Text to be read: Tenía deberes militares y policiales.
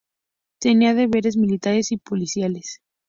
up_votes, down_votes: 4, 0